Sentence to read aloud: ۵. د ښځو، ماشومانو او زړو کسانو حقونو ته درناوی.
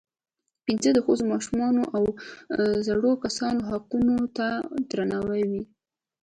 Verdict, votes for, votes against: rejected, 0, 2